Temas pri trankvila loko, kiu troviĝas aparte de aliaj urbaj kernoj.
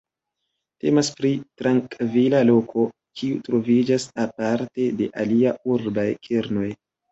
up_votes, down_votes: 1, 2